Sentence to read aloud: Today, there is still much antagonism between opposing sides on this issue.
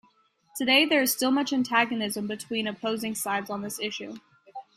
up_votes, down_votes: 2, 0